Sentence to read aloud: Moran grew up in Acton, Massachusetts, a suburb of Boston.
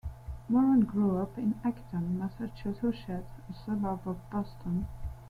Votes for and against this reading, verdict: 0, 2, rejected